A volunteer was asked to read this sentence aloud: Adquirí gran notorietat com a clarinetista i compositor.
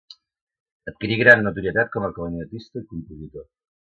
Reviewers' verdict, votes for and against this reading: accepted, 2, 0